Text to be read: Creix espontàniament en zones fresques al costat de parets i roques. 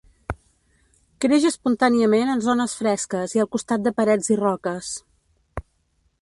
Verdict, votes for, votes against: rejected, 1, 3